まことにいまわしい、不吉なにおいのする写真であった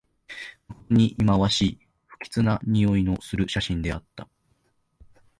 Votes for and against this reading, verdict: 0, 2, rejected